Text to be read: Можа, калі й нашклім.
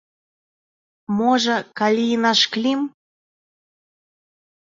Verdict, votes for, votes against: accepted, 2, 0